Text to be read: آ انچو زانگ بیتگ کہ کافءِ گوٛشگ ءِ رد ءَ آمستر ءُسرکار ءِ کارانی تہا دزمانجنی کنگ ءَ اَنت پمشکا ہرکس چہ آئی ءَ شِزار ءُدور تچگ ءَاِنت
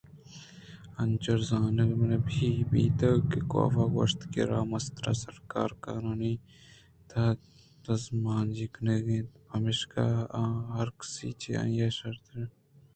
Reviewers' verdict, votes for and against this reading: accepted, 2, 1